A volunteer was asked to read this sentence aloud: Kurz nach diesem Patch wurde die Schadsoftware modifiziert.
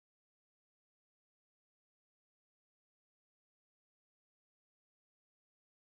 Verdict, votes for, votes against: rejected, 0, 2